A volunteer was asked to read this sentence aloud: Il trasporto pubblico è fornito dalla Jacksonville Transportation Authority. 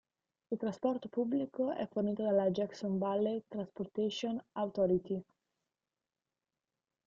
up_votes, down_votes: 1, 2